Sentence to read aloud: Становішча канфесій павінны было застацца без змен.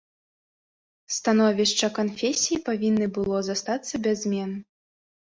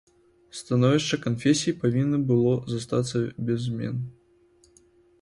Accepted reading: first